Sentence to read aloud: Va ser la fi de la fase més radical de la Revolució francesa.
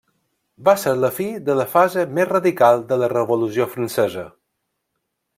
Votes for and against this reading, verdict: 1, 2, rejected